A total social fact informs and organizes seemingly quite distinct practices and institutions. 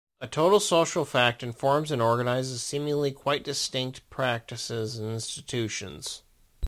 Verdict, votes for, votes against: accepted, 2, 0